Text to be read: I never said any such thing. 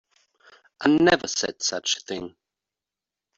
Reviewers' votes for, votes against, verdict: 1, 2, rejected